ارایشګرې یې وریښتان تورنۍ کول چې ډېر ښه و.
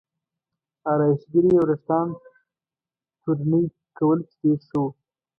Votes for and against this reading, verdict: 0, 2, rejected